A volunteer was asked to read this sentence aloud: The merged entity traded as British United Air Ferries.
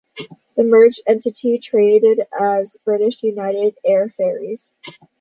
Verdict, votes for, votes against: accepted, 2, 0